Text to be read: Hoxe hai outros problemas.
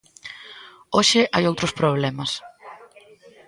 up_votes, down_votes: 1, 2